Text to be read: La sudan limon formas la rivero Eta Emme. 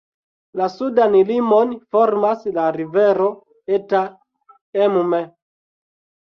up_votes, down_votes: 2, 1